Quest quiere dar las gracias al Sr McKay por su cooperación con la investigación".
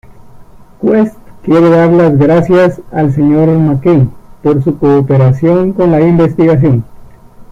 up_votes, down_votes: 1, 2